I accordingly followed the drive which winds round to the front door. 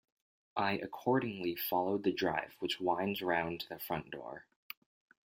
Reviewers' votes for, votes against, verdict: 2, 0, accepted